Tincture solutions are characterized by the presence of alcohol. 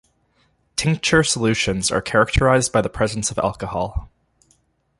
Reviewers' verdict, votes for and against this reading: accepted, 2, 0